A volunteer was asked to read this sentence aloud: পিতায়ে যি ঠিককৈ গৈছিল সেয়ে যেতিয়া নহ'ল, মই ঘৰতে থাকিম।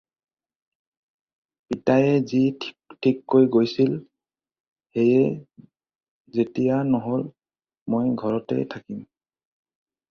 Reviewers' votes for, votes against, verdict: 2, 4, rejected